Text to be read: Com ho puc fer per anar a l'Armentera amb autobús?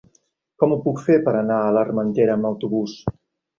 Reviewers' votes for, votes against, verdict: 1, 2, rejected